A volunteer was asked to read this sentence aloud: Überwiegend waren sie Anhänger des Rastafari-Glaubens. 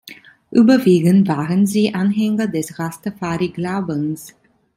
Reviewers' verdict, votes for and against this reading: accepted, 2, 0